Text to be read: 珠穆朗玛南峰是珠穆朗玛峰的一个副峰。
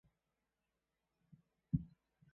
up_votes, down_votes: 0, 2